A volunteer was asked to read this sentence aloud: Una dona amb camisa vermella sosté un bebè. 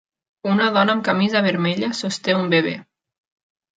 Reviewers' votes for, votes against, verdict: 3, 0, accepted